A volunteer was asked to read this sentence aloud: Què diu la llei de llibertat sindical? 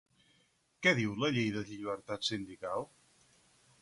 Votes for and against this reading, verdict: 4, 0, accepted